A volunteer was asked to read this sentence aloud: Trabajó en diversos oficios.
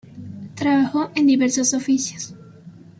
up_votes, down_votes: 2, 0